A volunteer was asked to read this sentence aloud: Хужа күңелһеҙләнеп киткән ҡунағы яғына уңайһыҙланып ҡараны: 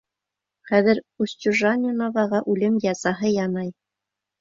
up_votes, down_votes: 0, 2